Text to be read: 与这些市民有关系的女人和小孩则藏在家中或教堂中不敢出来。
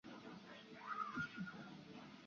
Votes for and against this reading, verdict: 0, 2, rejected